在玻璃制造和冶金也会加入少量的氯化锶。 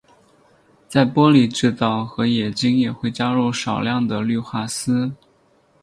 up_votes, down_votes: 10, 4